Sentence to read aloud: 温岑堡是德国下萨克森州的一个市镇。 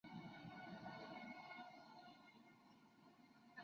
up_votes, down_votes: 0, 2